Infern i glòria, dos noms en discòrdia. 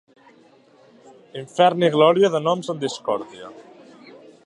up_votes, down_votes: 0, 2